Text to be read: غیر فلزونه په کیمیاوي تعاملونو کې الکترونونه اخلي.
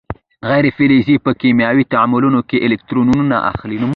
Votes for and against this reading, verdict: 1, 2, rejected